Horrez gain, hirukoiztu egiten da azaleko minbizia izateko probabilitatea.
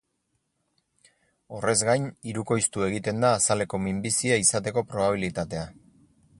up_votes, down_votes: 4, 0